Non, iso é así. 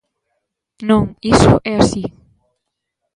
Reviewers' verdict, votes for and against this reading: accepted, 3, 0